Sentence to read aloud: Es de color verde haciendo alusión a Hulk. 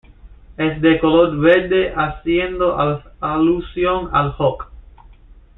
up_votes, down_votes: 1, 2